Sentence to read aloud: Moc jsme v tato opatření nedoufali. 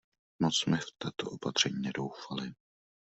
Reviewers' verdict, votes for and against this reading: rejected, 1, 2